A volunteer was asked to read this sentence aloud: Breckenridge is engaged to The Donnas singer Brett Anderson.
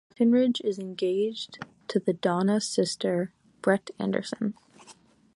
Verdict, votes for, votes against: rejected, 0, 2